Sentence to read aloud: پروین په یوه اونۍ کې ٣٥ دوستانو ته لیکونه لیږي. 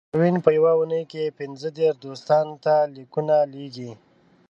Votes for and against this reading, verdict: 0, 2, rejected